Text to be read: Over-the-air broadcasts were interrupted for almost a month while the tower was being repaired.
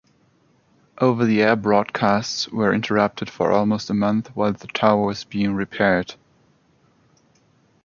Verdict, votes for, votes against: accepted, 3, 0